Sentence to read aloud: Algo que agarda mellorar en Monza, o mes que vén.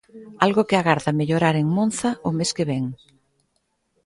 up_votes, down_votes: 2, 0